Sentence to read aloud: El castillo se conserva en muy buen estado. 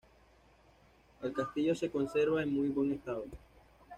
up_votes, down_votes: 2, 0